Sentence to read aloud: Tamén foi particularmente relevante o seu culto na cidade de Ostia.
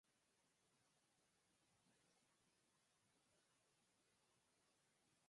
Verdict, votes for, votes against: rejected, 0, 4